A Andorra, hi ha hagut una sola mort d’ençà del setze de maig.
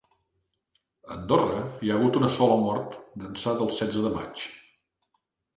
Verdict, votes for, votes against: accepted, 2, 0